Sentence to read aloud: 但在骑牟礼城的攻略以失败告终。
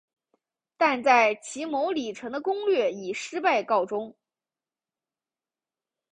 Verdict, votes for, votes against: accepted, 2, 0